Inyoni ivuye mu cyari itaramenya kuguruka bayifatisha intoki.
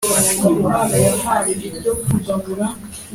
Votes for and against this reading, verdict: 0, 2, rejected